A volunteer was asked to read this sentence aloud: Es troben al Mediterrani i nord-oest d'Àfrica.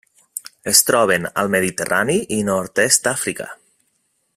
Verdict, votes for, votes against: rejected, 1, 2